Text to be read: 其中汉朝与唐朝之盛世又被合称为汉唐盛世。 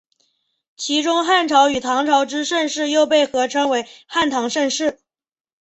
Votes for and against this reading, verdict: 2, 0, accepted